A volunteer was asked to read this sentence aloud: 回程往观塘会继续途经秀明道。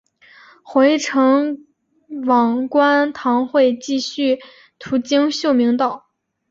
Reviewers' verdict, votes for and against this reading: accepted, 2, 0